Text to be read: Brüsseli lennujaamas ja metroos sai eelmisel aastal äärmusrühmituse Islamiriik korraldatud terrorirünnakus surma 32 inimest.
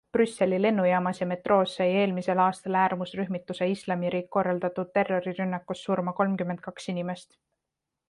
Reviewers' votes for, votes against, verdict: 0, 2, rejected